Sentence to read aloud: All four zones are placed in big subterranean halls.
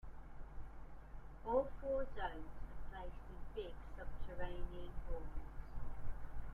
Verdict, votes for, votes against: rejected, 1, 2